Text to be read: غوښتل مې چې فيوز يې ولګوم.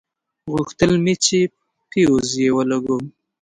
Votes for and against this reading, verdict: 2, 0, accepted